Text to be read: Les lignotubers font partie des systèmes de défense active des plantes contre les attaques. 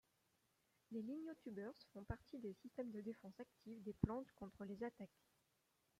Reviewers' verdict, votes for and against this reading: rejected, 0, 2